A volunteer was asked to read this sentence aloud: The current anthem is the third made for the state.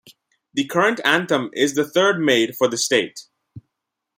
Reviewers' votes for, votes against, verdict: 2, 0, accepted